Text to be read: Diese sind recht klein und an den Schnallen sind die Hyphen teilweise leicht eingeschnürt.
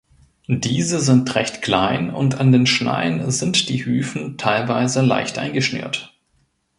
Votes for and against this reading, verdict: 0, 2, rejected